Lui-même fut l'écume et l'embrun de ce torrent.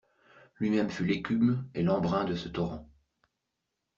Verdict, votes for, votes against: accepted, 2, 1